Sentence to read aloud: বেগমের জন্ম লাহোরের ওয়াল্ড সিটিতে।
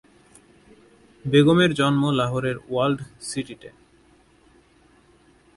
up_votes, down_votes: 2, 2